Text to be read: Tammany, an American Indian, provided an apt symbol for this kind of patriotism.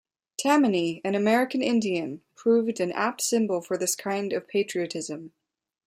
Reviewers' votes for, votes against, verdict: 1, 2, rejected